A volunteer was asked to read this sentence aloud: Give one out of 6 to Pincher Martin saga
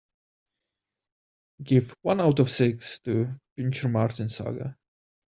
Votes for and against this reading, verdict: 0, 2, rejected